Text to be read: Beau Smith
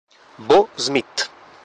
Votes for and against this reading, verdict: 1, 2, rejected